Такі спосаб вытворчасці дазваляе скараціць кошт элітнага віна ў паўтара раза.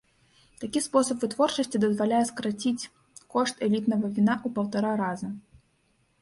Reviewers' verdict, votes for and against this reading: accepted, 2, 0